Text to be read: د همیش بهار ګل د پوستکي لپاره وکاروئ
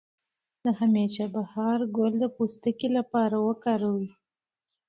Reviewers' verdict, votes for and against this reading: accepted, 2, 0